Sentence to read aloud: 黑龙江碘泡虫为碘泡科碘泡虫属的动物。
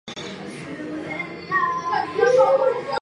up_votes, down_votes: 1, 3